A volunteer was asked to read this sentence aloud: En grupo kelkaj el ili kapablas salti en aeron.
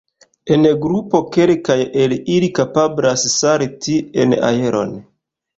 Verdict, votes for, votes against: accepted, 2, 0